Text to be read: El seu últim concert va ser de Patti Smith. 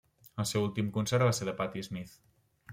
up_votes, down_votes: 2, 0